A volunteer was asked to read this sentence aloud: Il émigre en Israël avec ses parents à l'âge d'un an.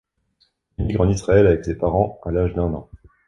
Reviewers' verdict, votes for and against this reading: rejected, 1, 2